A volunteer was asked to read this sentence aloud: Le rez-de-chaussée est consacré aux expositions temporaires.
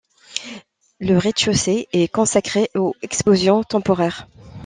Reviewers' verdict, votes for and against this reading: rejected, 0, 2